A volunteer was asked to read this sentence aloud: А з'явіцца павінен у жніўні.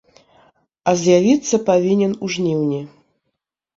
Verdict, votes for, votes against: accepted, 2, 0